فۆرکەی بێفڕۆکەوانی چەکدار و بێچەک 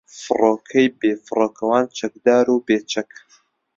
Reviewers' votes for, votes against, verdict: 2, 0, accepted